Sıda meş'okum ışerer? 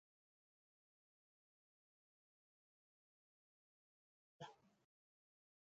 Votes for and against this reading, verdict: 0, 4, rejected